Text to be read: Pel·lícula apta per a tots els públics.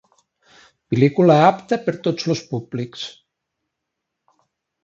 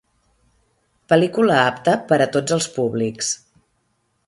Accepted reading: second